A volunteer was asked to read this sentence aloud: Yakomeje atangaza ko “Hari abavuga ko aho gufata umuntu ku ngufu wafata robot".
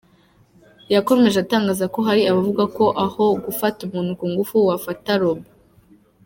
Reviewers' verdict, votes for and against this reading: accepted, 2, 0